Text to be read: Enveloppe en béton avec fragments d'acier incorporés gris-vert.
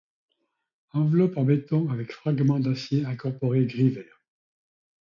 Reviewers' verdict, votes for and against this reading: accepted, 2, 0